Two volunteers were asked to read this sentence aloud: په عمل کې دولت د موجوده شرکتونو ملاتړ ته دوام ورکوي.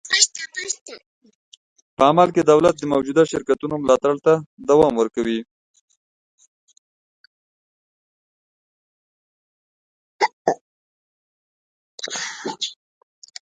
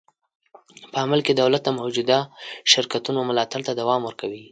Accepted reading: second